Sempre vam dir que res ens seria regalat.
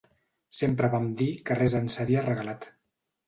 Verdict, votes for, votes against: accepted, 2, 0